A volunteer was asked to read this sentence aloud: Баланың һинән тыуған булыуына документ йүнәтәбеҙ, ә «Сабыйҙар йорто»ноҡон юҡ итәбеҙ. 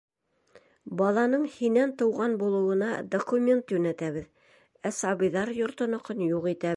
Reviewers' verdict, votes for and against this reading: rejected, 1, 2